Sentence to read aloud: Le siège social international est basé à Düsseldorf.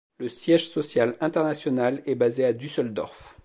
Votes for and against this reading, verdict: 2, 1, accepted